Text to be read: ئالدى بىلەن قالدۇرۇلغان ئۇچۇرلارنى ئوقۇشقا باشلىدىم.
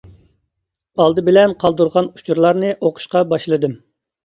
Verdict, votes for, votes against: rejected, 0, 2